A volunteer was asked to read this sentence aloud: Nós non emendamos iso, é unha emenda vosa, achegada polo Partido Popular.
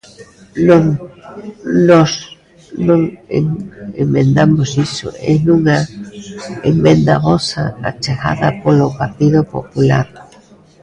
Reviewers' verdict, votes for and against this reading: rejected, 0, 2